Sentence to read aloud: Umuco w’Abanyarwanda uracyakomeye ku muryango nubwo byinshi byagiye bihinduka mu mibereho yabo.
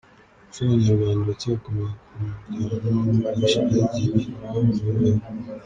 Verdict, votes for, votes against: rejected, 0, 3